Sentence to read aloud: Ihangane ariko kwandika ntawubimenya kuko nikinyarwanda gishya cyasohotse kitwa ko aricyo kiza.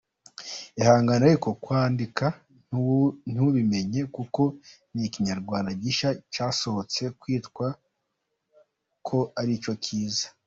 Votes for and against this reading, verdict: 1, 3, rejected